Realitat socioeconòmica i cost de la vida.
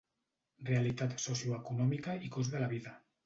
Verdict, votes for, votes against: accepted, 2, 0